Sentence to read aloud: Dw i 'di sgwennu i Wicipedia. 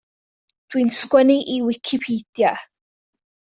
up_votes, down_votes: 1, 2